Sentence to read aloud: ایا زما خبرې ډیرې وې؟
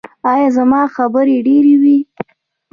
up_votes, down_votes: 2, 0